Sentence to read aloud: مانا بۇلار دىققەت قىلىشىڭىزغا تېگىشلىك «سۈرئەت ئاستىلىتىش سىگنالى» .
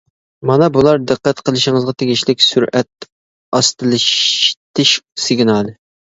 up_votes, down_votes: 1, 2